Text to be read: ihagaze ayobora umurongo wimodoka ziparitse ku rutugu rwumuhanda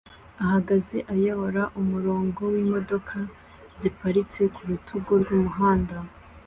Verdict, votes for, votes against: accepted, 2, 1